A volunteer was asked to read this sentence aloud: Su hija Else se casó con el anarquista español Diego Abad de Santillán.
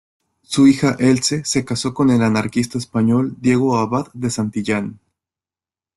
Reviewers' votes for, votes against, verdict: 2, 1, accepted